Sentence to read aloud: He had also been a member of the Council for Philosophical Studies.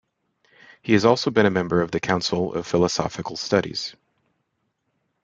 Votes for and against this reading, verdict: 1, 2, rejected